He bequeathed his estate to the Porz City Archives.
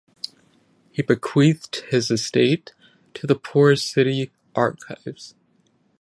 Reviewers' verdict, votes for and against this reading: rejected, 5, 5